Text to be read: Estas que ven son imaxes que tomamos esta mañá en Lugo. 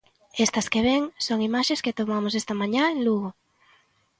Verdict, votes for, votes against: accepted, 2, 0